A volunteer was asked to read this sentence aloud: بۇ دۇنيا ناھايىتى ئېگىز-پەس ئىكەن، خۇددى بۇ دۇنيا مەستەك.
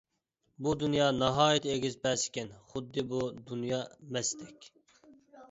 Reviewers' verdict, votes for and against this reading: accepted, 2, 0